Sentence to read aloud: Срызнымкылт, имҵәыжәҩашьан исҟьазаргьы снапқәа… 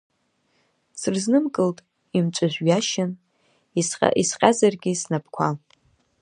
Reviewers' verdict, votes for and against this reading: rejected, 1, 2